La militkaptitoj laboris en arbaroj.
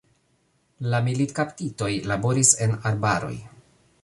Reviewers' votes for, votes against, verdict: 1, 2, rejected